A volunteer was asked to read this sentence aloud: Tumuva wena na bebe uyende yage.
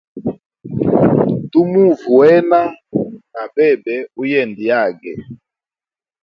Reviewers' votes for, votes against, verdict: 1, 2, rejected